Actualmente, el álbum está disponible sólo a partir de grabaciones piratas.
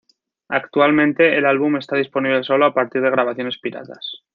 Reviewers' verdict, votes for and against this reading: accepted, 2, 0